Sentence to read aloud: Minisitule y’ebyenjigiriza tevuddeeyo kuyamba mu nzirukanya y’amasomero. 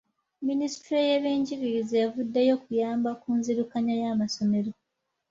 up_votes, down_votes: 0, 2